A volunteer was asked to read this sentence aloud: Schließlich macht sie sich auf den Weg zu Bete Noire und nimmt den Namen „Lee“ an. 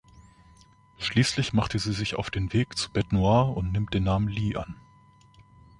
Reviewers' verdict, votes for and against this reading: rejected, 1, 2